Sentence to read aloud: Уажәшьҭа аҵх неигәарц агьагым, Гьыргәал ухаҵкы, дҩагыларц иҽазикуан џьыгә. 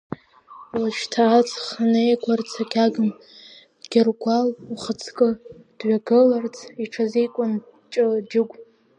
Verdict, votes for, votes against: rejected, 0, 2